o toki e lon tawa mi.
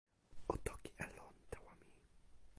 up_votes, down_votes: 0, 2